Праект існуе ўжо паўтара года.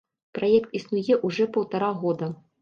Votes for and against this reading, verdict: 1, 2, rejected